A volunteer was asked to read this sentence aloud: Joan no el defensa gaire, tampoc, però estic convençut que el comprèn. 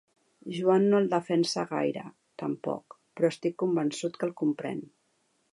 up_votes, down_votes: 3, 0